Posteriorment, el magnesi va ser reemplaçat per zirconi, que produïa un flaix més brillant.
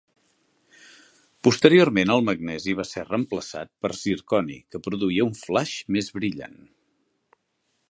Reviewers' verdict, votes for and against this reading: accepted, 4, 0